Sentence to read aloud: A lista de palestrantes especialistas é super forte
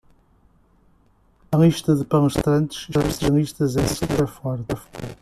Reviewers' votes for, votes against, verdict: 2, 1, accepted